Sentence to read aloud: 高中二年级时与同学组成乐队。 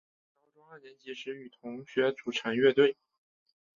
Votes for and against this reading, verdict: 3, 1, accepted